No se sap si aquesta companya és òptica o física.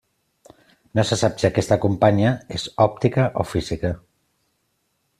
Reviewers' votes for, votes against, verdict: 2, 0, accepted